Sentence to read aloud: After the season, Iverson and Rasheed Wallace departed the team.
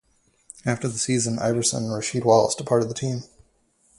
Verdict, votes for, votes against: rejected, 2, 2